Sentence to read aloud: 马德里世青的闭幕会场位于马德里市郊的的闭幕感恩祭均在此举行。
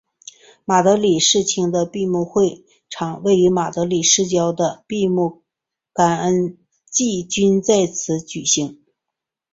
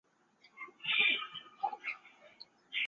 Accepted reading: first